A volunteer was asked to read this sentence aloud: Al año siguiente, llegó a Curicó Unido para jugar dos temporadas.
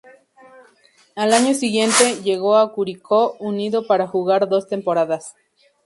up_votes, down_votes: 0, 2